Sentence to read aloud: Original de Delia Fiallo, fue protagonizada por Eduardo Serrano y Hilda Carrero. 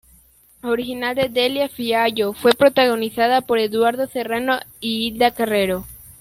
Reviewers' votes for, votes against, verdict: 2, 1, accepted